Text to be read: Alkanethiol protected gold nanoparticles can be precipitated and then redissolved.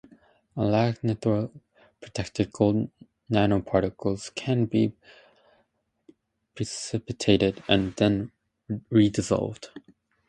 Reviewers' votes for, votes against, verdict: 0, 2, rejected